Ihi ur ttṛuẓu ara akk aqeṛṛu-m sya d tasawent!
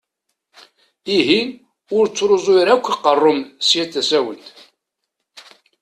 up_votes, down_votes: 2, 0